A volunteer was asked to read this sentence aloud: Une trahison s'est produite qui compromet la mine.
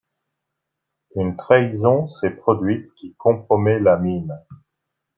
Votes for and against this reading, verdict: 2, 1, accepted